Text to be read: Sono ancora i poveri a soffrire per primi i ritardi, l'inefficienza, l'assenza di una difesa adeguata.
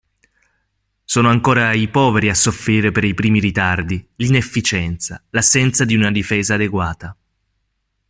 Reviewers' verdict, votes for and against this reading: accepted, 2, 0